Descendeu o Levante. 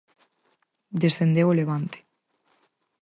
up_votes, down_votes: 4, 0